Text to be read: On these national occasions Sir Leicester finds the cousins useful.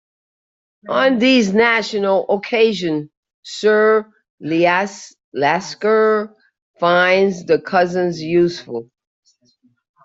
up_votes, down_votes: 0, 2